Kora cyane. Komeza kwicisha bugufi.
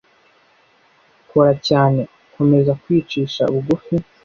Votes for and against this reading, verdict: 2, 0, accepted